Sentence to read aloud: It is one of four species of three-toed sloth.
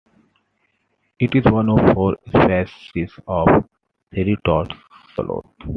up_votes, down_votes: 1, 2